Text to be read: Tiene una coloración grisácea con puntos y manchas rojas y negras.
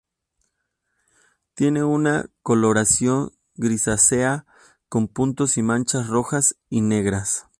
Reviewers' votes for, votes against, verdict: 2, 2, rejected